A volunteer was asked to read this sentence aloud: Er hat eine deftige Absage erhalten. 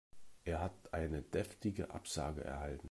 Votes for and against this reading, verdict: 2, 0, accepted